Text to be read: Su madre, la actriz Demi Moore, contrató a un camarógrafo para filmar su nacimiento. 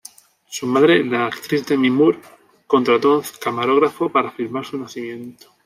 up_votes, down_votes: 1, 2